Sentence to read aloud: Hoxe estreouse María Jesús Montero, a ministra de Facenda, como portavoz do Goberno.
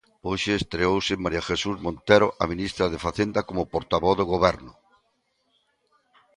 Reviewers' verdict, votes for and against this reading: accepted, 2, 0